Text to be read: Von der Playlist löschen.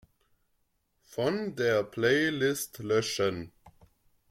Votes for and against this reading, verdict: 2, 3, rejected